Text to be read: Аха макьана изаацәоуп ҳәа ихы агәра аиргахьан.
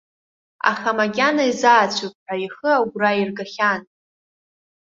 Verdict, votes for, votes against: accepted, 2, 0